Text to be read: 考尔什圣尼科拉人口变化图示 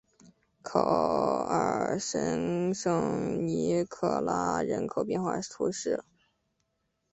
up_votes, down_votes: 0, 2